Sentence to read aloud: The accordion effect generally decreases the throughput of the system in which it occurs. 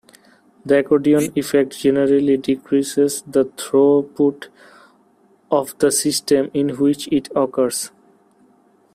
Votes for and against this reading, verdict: 1, 2, rejected